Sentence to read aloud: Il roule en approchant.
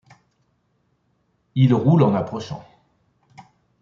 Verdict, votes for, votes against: accepted, 2, 0